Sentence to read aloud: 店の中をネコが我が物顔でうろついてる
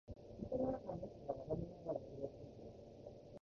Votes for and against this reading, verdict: 0, 2, rejected